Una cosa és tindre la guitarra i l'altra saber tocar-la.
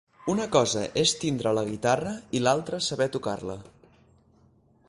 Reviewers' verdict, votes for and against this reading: accepted, 4, 0